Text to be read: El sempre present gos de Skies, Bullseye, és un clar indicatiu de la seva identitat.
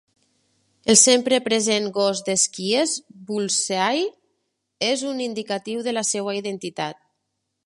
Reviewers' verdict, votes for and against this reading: rejected, 0, 2